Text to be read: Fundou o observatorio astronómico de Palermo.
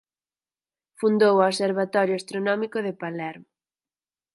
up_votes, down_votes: 4, 0